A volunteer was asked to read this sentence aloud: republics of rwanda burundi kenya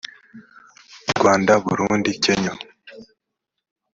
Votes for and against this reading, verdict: 0, 3, rejected